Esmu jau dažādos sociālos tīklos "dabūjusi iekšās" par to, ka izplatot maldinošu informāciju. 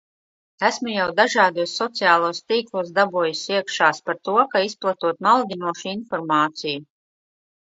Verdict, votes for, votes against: accepted, 2, 0